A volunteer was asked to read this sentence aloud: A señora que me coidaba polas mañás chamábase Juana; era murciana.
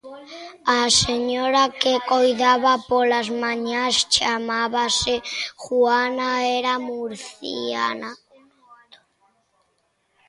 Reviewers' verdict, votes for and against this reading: rejected, 0, 2